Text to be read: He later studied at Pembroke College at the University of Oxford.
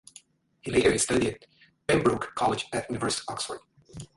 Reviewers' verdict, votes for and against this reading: rejected, 1, 2